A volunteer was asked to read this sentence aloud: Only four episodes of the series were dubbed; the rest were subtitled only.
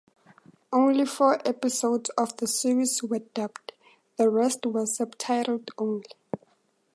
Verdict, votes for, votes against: accepted, 2, 0